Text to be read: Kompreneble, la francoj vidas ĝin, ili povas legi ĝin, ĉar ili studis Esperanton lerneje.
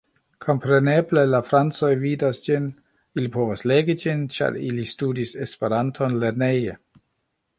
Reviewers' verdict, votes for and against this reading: accepted, 2, 0